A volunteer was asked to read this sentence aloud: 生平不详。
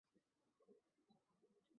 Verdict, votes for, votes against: rejected, 1, 2